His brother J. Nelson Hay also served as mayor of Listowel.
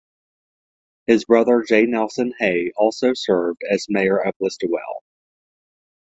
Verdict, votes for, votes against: accepted, 2, 0